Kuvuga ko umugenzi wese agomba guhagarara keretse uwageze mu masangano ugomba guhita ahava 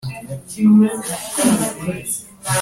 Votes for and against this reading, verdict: 0, 2, rejected